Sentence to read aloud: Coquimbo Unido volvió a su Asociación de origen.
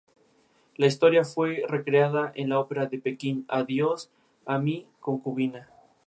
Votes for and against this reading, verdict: 0, 2, rejected